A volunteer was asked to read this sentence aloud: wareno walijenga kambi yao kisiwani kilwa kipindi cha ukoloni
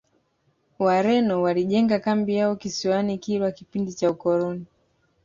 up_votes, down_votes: 2, 0